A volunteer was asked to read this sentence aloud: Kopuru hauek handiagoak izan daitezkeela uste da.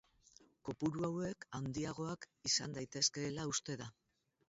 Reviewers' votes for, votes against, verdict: 2, 2, rejected